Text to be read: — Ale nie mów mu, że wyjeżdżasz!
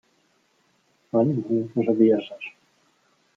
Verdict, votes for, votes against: rejected, 0, 2